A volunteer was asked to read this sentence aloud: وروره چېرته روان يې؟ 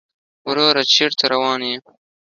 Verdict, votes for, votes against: accepted, 2, 0